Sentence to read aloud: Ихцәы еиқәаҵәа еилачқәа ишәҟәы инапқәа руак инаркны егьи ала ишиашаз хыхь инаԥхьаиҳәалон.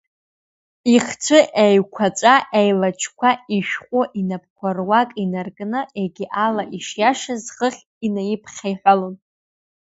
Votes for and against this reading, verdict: 2, 0, accepted